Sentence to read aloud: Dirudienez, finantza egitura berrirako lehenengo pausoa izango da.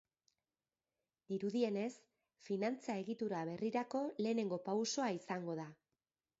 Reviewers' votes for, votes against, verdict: 3, 0, accepted